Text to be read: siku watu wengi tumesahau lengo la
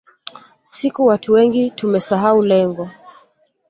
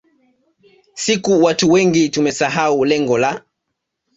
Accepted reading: second